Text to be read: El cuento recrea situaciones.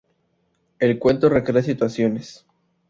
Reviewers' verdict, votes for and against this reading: accepted, 4, 0